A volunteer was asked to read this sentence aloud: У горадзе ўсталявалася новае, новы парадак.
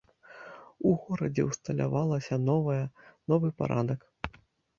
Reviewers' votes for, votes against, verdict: 2, 0, accepted